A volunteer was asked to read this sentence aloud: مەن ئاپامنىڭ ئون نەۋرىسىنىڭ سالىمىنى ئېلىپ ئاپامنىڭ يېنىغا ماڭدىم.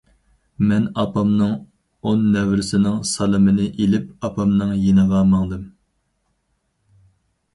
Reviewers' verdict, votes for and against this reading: accepted, 4, 0